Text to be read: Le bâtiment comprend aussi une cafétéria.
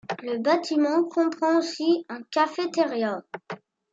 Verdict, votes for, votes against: rejected, 0, 2